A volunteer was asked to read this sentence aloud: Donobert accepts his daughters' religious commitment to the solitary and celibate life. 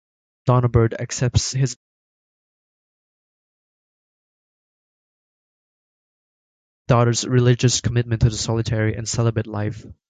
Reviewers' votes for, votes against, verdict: 1, 2, rejected